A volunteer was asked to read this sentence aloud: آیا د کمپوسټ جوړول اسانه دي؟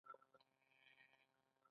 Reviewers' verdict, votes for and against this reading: rejected, 1, 2